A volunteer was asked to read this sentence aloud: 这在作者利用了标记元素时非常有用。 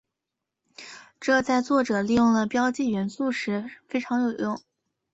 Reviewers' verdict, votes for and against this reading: accepted, 2, 0